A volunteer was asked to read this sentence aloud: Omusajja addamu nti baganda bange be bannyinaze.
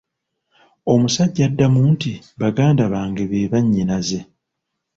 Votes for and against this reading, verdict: 0, 2, rejected